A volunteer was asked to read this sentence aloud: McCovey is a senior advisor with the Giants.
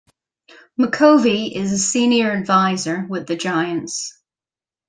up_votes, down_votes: 2, 0